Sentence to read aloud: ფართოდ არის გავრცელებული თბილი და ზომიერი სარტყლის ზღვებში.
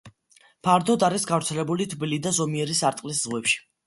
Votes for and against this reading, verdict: 2, 0, accepted